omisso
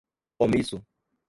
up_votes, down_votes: 1, 2